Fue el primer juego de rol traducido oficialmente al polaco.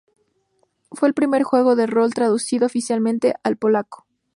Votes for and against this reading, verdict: 2, 0, accepted